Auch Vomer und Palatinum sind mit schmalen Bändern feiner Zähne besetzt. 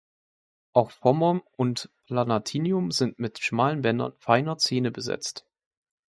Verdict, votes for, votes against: rejected, 1, 2